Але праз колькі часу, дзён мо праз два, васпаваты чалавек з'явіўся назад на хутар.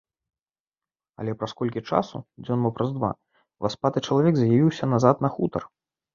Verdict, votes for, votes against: rejected, 0, 2